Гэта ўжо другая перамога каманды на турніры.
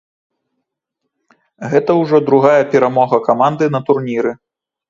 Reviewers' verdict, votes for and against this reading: accepted, 2, 0